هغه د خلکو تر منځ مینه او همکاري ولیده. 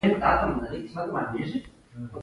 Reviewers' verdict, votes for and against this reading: rejected, 1, 2